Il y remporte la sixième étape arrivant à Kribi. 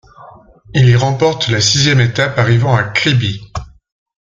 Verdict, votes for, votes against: accepted, 3, 0